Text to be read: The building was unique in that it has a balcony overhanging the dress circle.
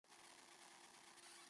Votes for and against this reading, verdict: 0, 2, rejected